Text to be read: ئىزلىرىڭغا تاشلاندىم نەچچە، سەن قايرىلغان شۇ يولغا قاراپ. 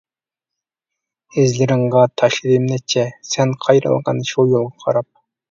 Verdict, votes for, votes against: rejected, 0, 2